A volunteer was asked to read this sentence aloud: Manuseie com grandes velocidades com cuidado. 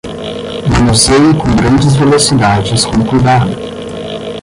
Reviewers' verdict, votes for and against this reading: rejected, 5, 10